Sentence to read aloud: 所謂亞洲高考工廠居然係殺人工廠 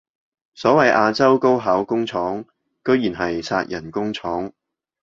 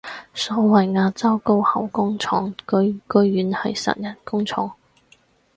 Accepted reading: first